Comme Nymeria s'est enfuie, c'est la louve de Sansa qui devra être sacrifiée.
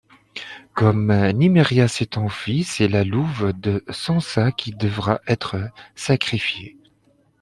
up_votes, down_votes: 2, 0